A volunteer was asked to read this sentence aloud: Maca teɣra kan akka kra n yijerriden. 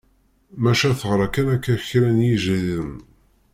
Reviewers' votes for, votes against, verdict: 1, 2, rejected